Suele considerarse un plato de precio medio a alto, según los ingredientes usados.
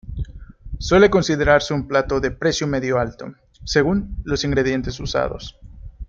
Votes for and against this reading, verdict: 1, 2, rejected